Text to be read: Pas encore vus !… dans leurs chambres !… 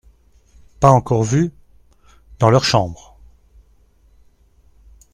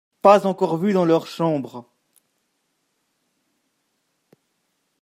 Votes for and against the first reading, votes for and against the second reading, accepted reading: 2, 0, 1, 2, first